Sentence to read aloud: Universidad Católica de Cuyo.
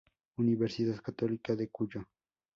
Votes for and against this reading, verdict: 2, 0, accepted